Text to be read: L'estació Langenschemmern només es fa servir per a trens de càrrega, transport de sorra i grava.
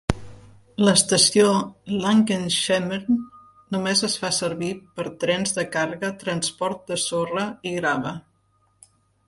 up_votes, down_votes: 0, 2